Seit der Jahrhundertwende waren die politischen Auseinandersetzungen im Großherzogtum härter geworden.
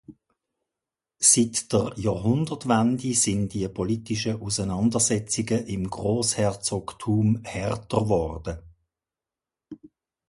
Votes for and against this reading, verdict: 0, 2, rejected